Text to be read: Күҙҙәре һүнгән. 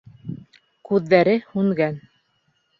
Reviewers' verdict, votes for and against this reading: rejected, 1, 2